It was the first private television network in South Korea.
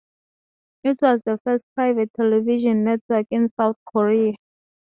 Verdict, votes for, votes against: rejected, 2, 2